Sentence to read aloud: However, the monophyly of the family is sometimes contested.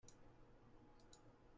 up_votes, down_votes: 0, 2